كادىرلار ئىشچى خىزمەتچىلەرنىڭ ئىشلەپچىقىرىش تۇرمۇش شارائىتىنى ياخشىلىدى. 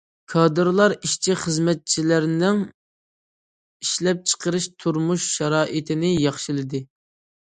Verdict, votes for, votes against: accepted, 2, 0